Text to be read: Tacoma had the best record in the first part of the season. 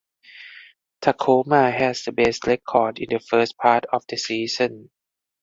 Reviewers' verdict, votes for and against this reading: rejected, 2, 4